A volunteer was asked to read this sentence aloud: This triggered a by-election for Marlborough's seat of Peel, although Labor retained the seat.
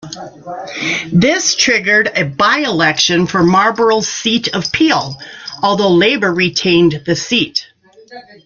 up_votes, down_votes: 3, 0